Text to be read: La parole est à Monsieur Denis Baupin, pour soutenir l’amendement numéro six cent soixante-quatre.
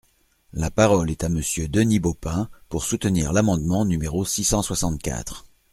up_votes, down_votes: 2, 0